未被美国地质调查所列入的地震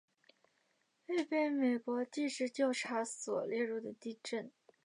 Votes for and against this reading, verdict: 2, 1, accepted